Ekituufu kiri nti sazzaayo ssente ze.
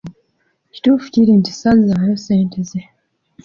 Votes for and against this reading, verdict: 0, 2, rejected